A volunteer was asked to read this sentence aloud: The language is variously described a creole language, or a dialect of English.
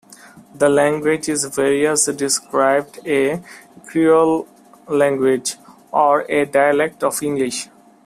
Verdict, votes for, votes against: accepted, 2, 0